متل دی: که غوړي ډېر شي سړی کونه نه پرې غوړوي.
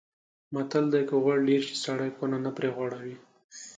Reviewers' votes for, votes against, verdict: 2, 0, accepted